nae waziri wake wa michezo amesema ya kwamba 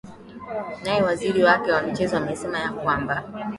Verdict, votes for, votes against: accepted, 2, 0